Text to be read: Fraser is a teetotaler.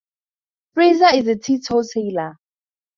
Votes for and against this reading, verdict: 2, 2, rejected